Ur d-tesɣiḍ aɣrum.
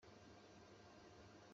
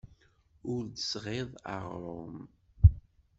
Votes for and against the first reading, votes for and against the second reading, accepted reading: 1, 2, 2, 0, second